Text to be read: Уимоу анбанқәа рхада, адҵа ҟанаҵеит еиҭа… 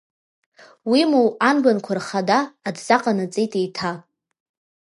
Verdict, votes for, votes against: accepted, 2, 0